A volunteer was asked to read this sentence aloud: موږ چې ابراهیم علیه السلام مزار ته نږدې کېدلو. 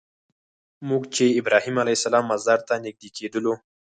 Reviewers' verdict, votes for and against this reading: accepted, 4, 0